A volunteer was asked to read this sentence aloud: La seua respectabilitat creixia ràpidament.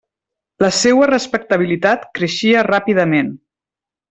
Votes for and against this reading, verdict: 3, 0, accepted